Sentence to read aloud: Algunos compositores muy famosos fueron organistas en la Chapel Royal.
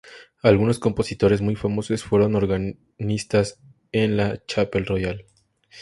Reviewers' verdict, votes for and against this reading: rejected, 2, 2